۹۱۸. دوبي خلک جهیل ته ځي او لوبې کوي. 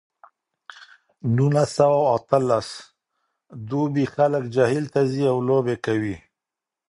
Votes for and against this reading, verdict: 0, 2, rejected